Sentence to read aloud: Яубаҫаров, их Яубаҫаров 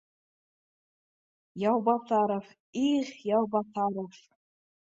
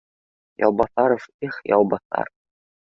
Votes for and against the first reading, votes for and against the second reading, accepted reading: 2, 0, 1, 2, first